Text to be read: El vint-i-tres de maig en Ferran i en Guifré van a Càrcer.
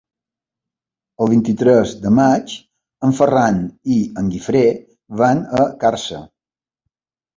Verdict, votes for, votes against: accepted, 2, 0